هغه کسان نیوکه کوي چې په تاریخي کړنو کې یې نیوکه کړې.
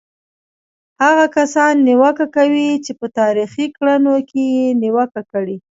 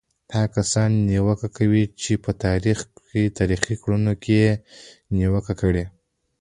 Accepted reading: second